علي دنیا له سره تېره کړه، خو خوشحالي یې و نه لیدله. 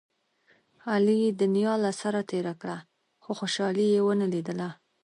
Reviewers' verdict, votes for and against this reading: rejected, 1, 2